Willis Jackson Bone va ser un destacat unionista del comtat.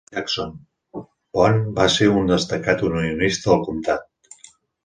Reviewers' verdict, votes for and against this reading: rejected, 0, 2